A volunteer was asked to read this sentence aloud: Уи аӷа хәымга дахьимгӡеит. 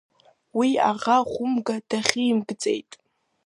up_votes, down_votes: 0, 2